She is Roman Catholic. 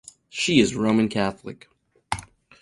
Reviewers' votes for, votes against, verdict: 4, 0, accepted